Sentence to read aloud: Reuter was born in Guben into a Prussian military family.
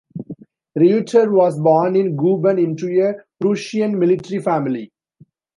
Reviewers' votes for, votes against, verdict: 2, 0, accepted